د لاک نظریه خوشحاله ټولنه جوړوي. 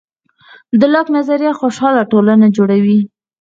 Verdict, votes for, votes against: accepted, 4, 2